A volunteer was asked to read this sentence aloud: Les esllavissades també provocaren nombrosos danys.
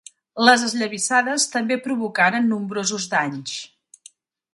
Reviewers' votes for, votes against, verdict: 2, 0, accepted